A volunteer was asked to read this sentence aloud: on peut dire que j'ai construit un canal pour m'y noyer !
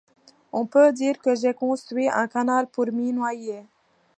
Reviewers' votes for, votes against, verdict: 2, 0, accepted